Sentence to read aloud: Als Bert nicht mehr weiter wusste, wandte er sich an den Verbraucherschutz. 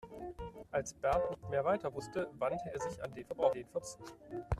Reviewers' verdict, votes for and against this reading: rejected, 1, 2